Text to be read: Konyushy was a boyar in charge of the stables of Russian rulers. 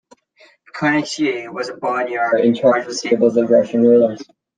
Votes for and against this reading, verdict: 1, 2, rejected